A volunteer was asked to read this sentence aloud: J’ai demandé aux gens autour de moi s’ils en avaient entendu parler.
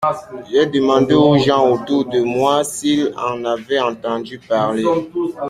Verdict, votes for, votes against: rejected, 0, 2